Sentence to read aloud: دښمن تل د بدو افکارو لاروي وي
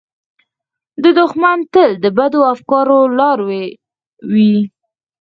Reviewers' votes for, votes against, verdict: 0, 4, rejected